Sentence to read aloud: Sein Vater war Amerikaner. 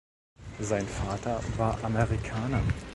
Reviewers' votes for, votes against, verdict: 2, 0, accepted